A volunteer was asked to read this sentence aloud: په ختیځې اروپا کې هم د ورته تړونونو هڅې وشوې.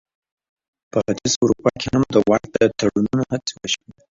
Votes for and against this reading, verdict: 1, 3, rejected